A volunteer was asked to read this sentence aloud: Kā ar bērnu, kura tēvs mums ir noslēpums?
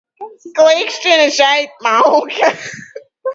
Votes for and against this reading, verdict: 0, 2, rejected